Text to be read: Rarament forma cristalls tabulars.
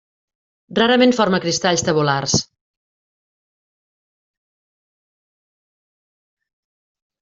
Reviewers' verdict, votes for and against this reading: accepted, 3, 0